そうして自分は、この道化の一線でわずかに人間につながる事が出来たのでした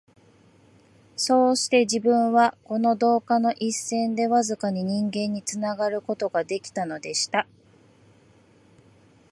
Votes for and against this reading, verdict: 0, 2, rejected